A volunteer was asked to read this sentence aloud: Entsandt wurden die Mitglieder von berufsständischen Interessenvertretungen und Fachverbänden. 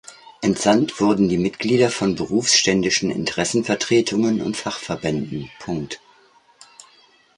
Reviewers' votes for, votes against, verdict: 0, 2, rejected